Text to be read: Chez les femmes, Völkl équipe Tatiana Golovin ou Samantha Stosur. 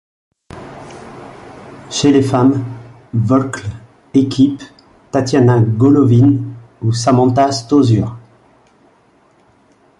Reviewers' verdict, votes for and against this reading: rejected, 1, 2